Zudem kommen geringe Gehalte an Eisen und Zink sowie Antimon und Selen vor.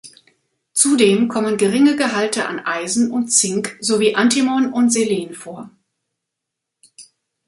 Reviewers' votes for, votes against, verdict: 2, 0, accepted